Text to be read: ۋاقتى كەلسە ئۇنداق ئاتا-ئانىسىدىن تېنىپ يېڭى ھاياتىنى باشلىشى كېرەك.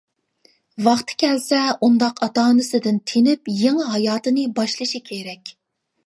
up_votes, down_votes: 2, 0